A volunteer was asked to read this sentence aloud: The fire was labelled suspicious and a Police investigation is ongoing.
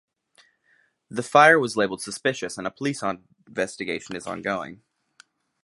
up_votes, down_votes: 0, 2